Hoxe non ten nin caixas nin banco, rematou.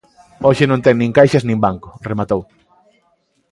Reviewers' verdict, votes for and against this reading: accepted, 2, 0